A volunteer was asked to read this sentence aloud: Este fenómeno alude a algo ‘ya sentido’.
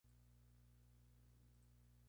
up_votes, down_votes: 0, 2